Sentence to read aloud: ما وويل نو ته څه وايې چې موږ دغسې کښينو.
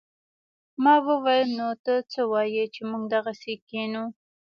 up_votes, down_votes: 2, 0